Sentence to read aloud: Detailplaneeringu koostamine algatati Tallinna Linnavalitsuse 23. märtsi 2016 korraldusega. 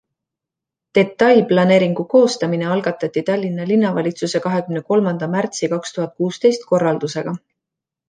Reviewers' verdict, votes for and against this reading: rejected, 0, 2